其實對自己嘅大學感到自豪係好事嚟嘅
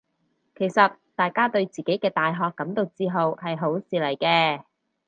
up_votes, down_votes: 0, 2